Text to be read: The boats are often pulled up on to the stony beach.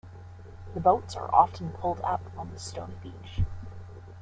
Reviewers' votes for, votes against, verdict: 0, 2, rejected